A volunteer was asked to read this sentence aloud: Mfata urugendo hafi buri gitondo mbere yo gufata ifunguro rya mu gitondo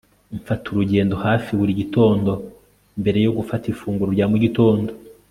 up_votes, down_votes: 2, 0